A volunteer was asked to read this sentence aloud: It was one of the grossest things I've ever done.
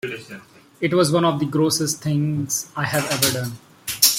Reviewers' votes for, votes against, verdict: 1, 2, rejected